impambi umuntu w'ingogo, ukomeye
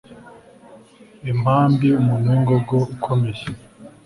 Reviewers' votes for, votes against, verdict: 2, 0, accepted